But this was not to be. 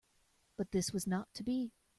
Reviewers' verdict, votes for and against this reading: accepted, 2, 0